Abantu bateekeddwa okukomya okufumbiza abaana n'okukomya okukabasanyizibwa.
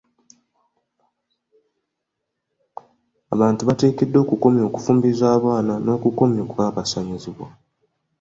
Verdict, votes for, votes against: accepted, 3, 1